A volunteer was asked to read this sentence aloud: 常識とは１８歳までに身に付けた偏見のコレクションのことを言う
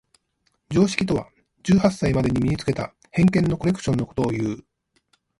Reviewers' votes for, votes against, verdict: 0, 2, rejected